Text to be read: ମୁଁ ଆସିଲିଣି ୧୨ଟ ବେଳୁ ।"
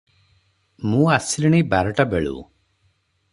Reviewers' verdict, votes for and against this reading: rejected, 0, 2